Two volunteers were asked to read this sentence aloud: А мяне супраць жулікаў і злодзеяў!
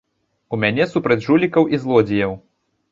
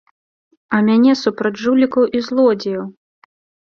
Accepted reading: second